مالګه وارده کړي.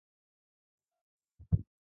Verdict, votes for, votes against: rejected, 0, 2